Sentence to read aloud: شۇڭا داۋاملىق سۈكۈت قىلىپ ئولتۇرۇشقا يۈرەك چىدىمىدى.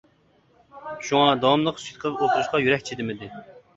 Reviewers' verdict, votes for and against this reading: rejected, 0, 2